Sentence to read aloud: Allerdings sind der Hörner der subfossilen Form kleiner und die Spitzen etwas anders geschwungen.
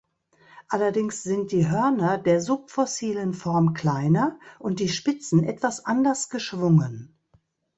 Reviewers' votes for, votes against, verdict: 1, 2, rejected